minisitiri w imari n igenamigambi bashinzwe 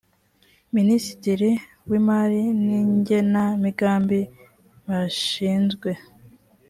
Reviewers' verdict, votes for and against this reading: accepted, 2, 0